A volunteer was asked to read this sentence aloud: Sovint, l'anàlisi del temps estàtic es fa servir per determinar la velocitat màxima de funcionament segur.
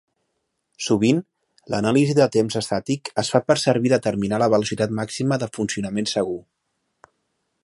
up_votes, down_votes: 1, 2